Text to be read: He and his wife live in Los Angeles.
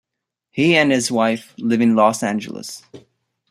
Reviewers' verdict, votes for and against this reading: accepted, 3, 0